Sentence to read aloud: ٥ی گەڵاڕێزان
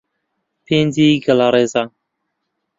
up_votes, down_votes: 0, 2